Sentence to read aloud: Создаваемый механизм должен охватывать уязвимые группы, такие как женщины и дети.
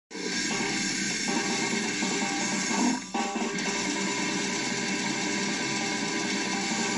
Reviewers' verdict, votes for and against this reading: rejected, 1, 2